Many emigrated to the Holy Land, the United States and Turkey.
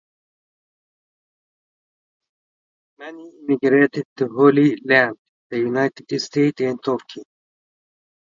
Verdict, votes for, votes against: rejected, 0, 2